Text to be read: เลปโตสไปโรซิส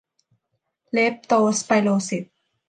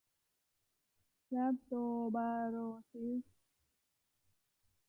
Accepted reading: first